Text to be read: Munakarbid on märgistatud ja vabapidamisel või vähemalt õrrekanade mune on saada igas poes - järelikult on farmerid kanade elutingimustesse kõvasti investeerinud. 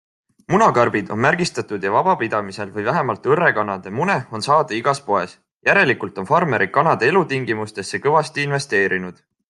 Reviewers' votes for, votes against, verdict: 2, 0, accepted